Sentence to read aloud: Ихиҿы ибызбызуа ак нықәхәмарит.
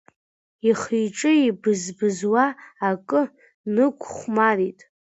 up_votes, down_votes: 0, 2